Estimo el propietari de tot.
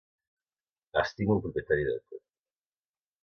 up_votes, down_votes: 2, 0